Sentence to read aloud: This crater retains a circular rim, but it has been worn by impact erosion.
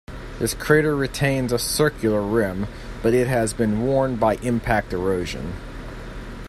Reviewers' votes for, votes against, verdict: 2, 0, accepted